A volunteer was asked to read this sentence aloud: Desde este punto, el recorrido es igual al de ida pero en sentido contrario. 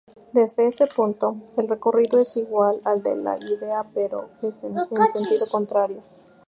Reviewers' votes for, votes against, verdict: 0, 2, rejected